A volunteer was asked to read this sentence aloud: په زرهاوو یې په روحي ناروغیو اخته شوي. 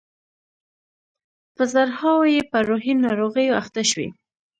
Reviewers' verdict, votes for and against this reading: rejected, 1, 2